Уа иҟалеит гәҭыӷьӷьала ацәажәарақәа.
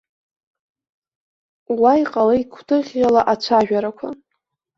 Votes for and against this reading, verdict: 1, 2, rejected